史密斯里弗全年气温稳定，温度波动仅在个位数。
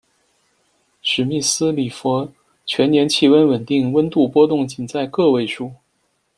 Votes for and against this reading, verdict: 2, 0, accepted